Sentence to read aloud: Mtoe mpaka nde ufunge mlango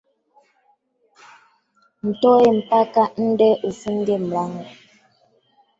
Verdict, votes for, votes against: rejected, 0, 2